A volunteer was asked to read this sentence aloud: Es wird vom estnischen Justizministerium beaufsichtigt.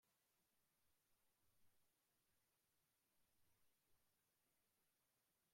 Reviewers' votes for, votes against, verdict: 0, 2, rejected